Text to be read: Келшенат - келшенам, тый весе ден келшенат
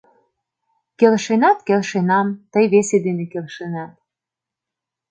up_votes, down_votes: 1, 2